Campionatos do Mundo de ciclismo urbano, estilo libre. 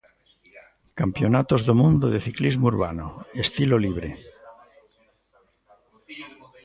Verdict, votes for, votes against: accepted, 2, 0